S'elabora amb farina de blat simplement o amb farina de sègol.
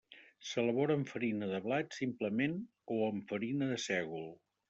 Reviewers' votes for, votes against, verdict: 3, 0, accepted